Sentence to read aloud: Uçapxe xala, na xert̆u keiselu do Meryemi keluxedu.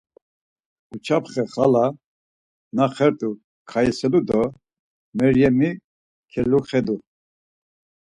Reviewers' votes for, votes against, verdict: 2, 4, rejected